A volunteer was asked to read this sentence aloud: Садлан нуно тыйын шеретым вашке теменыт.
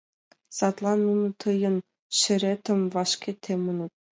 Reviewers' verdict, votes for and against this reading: accepted, 2, 0